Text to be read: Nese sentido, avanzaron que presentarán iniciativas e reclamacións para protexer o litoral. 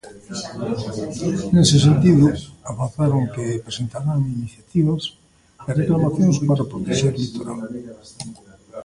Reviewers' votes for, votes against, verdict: 0, 2, rejected